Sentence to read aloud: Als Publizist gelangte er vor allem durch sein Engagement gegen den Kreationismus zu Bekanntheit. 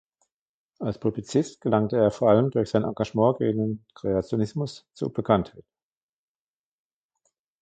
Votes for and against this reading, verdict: 0, 2, rejected